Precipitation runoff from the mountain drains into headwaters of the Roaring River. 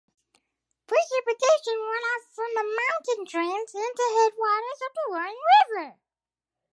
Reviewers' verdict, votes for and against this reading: accepted, 2, 0